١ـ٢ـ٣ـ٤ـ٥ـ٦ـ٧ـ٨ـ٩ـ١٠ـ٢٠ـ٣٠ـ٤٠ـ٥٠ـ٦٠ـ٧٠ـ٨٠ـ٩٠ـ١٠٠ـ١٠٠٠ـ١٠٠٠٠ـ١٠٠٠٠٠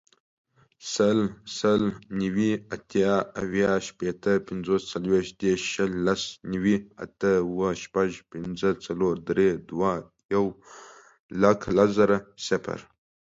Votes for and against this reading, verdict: 0, 2, rejected